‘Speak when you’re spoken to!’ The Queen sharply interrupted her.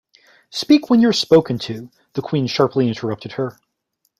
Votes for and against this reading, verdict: 2, 0, accepted